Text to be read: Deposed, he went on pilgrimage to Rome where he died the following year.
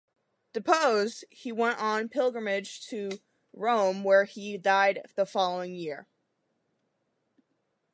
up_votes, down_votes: 2, 0